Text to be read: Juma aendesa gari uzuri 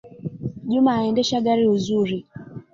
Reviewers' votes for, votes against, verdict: 2, 0, accepted